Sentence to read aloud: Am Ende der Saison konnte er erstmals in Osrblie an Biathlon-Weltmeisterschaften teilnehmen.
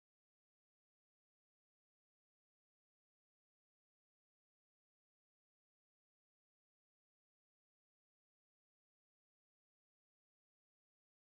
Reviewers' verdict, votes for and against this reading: rejected, 0, 2